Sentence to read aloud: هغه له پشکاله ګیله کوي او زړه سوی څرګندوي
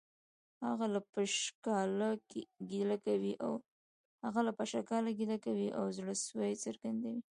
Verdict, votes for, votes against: rejected, 1, 2